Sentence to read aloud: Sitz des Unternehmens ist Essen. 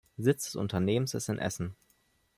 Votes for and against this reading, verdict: 1, 2, rejected